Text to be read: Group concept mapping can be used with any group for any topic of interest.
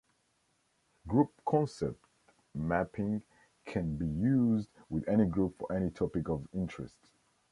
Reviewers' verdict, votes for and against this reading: rejected, 1, 2